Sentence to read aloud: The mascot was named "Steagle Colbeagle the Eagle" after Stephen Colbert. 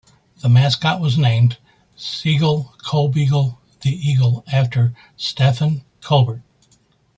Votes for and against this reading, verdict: 0, 2, rejected